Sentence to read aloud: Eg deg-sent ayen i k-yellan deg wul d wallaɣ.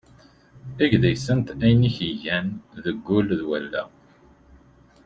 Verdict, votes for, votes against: accepted, 2, 0